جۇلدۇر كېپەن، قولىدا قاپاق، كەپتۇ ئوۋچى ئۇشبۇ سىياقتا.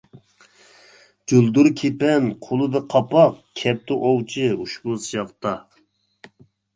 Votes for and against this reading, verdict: 2, 1, accepted